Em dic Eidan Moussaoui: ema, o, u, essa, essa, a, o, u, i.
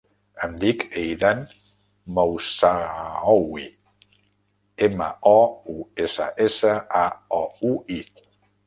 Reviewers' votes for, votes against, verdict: 0, 2, rejected